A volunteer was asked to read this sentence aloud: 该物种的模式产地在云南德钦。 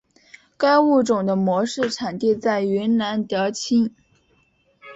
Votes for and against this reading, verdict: 2, 0, accepted